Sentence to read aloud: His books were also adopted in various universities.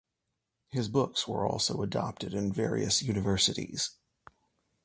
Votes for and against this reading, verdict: 2, 1, accepted